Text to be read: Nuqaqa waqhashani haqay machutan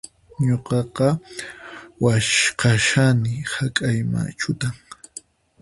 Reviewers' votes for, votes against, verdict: 0, 4, rejected